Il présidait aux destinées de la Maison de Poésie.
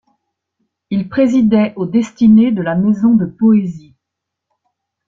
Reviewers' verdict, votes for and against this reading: accepted, 2, 0